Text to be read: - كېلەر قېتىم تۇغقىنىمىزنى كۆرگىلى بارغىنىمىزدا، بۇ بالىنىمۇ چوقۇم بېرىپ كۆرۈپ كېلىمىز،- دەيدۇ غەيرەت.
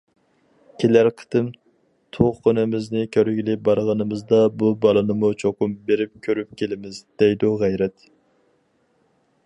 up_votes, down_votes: 4, 0